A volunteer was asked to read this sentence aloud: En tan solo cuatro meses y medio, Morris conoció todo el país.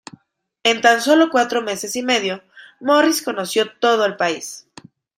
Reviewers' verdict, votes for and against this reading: accepted, 2, 0